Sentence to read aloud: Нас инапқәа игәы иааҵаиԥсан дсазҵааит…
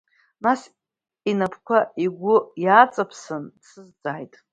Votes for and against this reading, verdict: 2, 0, accepted